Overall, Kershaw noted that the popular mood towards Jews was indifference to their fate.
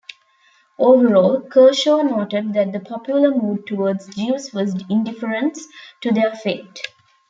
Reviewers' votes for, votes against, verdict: 2, 0, accepted